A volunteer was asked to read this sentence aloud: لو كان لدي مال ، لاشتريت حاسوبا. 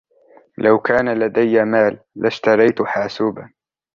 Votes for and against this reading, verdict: 2, 0, accepted